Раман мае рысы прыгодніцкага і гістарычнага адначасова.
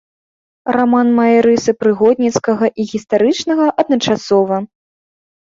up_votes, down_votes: 2, 0